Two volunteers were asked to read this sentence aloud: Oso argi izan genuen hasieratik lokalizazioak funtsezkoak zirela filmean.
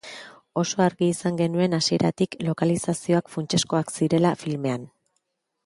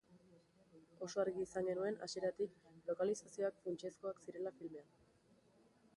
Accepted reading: first